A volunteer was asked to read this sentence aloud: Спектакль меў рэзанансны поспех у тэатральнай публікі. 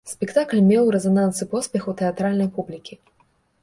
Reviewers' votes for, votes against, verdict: 1, 2, rejected